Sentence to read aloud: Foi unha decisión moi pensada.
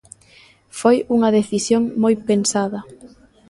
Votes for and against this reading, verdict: 1, 2, rejected